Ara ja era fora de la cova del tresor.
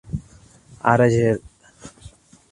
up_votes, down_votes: 0, 2